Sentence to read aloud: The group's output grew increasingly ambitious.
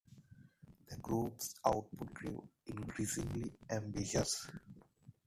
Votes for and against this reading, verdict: 2, 1, accepted